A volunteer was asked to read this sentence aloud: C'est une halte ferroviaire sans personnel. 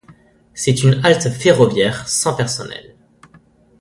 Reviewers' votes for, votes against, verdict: 2, 0, accepted